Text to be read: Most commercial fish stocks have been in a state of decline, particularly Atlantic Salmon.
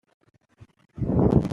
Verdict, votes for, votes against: rejected, 0, 2